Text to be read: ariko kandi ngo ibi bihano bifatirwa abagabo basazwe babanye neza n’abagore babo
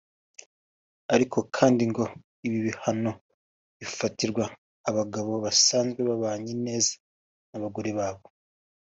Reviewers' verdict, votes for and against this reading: rejected, 1, 2